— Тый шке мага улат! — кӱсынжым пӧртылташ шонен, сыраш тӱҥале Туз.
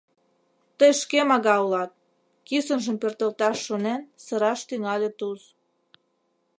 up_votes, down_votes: 2, 0